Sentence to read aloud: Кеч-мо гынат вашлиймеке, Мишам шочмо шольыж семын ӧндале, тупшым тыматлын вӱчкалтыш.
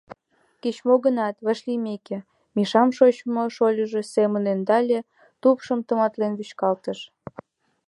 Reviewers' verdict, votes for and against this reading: rejected, 1, 2